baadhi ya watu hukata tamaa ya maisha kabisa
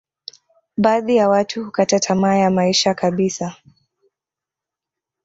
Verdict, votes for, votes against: accepted, 2, 1